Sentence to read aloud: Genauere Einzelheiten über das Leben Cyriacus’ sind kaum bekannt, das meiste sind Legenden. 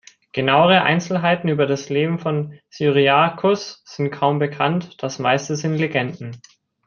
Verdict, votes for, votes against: rejected, 0, 2